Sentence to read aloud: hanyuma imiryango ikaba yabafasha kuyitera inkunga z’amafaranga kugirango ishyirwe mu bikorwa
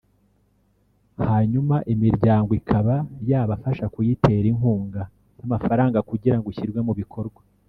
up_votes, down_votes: 0, 2